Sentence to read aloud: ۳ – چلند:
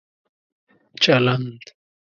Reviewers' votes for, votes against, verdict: 0, 2, rejected